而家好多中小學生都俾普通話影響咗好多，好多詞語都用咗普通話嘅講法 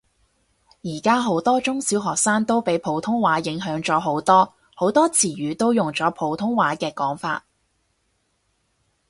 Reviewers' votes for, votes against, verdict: 2, 0, accepted